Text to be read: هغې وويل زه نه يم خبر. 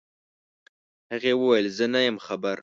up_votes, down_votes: 2, 0